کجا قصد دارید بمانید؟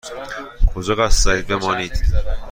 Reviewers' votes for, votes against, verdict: 1, 2, rejected